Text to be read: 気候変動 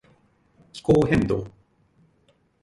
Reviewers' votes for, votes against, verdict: 2, 0, accepted